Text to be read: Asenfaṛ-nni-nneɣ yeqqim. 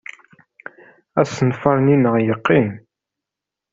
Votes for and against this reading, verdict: 3, 0, accepted